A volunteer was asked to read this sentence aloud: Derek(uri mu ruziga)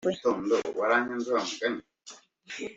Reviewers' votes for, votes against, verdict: 1, 2, rejected